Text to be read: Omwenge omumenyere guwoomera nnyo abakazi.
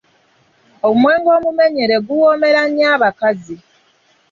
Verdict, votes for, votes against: accepted, 2, 0